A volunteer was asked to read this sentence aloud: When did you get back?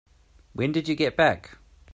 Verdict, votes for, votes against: accepted, 2, 0